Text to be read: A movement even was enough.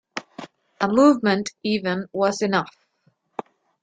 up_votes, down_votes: 2, 0